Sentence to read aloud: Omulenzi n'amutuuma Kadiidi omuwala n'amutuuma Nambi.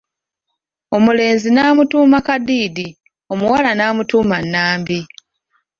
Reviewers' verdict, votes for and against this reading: rejected, 0, 2